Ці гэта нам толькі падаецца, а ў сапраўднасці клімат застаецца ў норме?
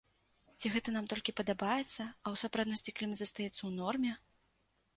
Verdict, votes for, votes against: rejected, 0, 2